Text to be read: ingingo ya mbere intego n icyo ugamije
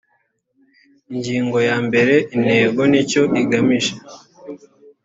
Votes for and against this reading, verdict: 1, 2, rejected